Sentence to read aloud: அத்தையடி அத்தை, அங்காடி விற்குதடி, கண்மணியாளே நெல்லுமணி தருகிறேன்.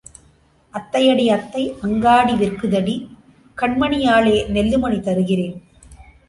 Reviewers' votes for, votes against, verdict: 2, 0, accepted